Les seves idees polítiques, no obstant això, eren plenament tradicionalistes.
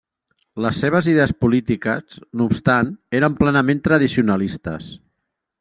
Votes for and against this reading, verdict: 0, 2, rejected